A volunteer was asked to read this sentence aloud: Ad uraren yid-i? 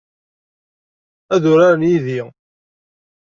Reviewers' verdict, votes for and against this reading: accepted, 2, 0